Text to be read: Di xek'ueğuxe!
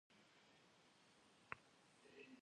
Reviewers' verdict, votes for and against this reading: rejected, 1, 2